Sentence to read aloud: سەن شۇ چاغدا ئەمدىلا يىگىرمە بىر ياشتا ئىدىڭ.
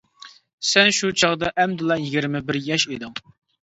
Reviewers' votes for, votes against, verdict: 0, 2, rejected